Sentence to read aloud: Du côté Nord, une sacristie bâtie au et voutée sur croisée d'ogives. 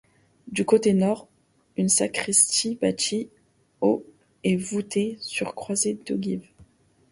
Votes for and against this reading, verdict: 1, 2, rejected